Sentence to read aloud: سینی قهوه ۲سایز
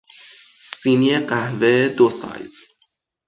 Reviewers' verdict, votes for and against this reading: rejected, 0, 2